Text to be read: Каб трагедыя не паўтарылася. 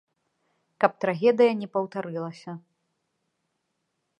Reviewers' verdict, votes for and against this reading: accepted, 2, 0